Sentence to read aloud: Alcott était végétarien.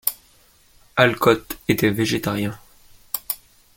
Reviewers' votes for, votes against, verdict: 2, 0, accepted